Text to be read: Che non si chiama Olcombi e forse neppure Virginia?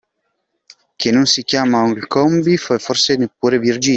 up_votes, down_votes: 0, 2